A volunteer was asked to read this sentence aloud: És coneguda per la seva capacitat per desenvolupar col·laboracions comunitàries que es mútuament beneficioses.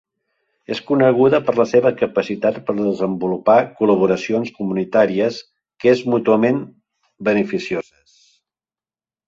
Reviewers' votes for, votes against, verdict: 1, 2, rejected